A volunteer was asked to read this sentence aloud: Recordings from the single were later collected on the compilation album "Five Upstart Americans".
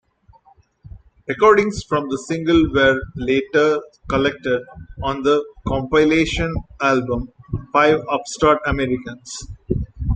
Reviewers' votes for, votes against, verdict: 2, 0, accepted